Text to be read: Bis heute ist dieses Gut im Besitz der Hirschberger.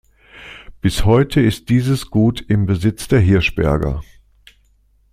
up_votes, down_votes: 2, 0